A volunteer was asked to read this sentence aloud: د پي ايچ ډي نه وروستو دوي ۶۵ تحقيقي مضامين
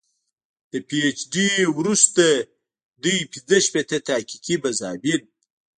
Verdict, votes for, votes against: rejected, 0, 2